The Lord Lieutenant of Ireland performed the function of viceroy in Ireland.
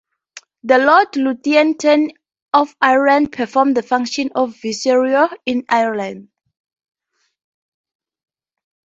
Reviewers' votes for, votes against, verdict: 2, 0, accepted